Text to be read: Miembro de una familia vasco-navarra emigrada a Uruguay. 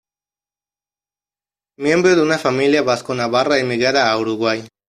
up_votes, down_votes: 2, 0